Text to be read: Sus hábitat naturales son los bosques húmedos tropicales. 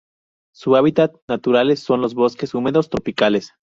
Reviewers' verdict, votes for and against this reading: rejected, 0, 2